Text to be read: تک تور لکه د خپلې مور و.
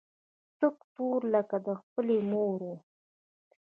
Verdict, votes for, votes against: rejected, 1, 2